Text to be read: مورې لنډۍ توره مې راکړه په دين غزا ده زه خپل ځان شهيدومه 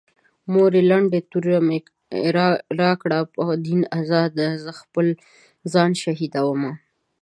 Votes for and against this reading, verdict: 2, 3, rejected